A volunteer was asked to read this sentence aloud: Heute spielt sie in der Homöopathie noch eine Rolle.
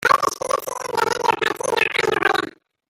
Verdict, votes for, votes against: rejected, 0, 2